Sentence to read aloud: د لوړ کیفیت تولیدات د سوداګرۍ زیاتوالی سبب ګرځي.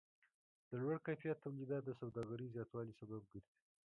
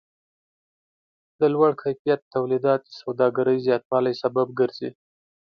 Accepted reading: second